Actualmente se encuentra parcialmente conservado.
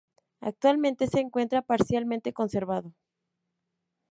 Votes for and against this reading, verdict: 2, 0, accepted